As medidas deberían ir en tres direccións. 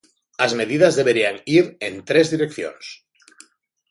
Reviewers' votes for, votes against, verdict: 2, 0, accepted